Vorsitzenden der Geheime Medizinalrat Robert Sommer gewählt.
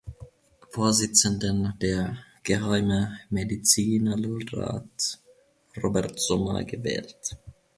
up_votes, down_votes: 1, 2